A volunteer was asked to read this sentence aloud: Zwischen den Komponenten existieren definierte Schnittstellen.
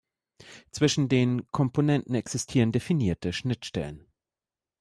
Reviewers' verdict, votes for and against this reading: accepted, 2, 0